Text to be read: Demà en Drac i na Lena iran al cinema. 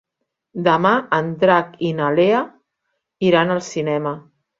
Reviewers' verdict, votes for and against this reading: rejected, 1, 3